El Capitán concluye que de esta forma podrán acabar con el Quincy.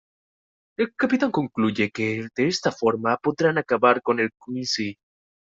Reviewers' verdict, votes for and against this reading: accepted, 2, 1